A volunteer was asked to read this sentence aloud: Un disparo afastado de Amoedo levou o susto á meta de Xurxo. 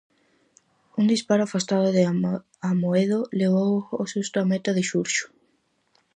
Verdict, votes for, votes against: rejected, 0, 4